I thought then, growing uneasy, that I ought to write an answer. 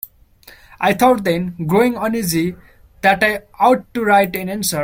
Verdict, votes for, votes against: accepted, 2, 0